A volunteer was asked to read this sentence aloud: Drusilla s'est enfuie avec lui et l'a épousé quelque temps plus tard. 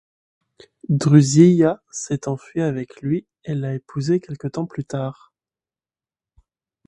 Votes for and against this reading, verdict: 2, 0, accepted